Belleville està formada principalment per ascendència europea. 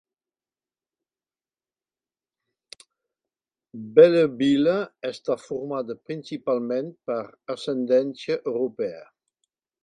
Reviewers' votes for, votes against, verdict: 3, 0, accepted